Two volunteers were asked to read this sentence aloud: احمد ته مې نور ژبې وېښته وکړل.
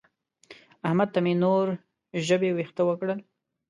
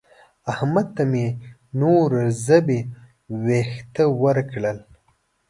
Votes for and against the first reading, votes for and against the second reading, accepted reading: 2, 0, 1, 2, first